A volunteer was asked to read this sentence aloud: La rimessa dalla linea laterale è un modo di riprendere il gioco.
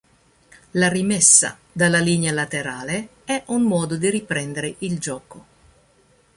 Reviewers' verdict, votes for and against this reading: accepted, 2, 0